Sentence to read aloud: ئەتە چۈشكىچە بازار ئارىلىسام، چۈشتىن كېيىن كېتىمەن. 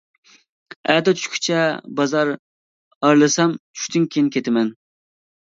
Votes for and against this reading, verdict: 2, 0, accepted